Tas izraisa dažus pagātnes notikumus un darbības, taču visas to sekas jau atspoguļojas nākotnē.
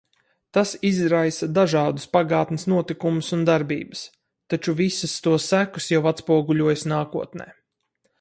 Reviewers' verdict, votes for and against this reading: rejected, 2, 2